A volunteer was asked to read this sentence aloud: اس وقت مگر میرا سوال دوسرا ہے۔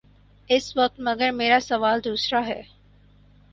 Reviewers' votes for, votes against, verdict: 2, 2, rejected